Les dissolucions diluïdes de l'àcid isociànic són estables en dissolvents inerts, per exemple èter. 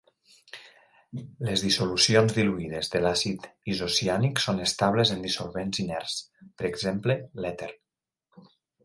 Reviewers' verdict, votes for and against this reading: accepted, 2, 0